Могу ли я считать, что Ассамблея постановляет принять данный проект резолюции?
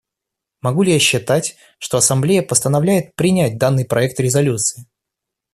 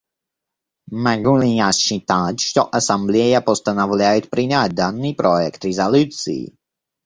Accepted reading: first